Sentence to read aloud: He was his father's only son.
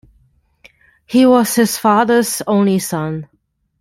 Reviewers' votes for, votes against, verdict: 2, 0, accepted